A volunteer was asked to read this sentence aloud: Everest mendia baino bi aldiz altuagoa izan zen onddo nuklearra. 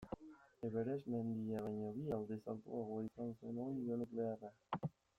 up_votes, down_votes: 1, 2